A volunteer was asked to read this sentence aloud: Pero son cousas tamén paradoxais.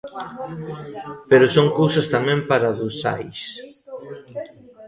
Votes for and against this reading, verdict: 2, 0, accepted